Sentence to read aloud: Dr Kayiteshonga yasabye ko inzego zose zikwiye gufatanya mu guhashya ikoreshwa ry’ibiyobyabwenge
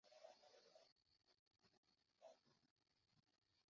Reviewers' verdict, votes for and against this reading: rejected, 0, 2